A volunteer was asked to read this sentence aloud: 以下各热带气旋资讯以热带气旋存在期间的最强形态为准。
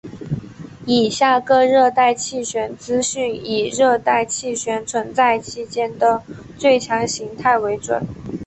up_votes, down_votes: 2, 0